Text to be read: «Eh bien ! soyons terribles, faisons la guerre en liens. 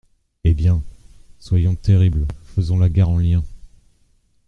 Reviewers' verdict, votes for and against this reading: accepted, 2, 1